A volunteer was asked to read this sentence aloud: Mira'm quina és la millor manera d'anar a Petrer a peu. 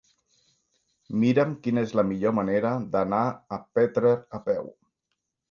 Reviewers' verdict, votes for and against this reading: accepted, 3, 0